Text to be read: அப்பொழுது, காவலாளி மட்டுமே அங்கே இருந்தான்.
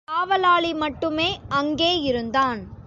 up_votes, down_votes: 0, 2